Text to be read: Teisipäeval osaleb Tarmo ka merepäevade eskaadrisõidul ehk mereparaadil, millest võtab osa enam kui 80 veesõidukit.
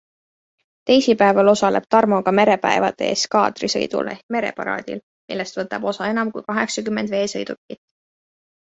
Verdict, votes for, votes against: rejected, 0, 2